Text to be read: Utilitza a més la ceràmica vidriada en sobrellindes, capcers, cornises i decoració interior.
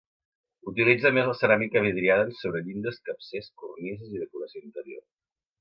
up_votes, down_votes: 2, 1